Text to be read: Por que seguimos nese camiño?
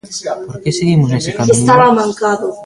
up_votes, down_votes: 0, 2